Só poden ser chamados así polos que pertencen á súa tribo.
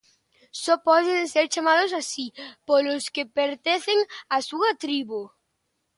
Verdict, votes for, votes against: rejected, 0, 2